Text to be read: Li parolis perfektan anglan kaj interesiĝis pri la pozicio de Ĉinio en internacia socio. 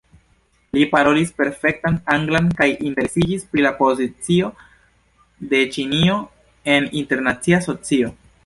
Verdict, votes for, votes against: accepted, 2, 1